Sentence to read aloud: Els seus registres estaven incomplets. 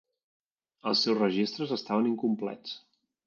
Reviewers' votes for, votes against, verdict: 3, 0, accepted